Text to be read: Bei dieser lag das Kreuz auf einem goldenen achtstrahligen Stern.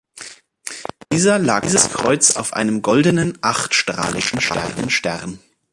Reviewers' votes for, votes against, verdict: 0, 2, rejected